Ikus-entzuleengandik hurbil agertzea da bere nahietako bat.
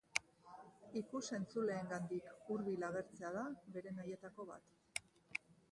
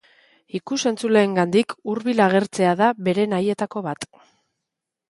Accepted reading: second